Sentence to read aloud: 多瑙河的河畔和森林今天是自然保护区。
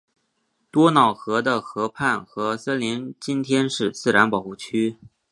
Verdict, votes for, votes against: accepted, 2, 0